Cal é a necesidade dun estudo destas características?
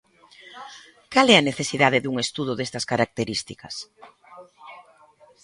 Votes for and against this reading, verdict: 2, 1, accepted